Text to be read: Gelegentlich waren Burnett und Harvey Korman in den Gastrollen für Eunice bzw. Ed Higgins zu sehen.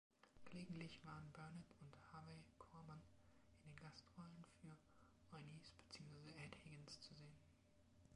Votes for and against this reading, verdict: 1, 2, rejected